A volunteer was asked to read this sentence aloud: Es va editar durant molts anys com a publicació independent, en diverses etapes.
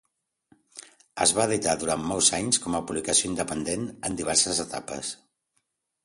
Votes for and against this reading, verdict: 2, 0, accepted